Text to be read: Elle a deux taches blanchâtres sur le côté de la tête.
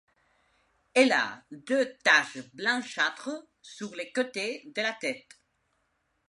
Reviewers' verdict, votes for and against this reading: accepted, 2, 0